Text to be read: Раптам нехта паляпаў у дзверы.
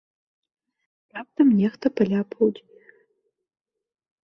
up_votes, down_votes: 1, 2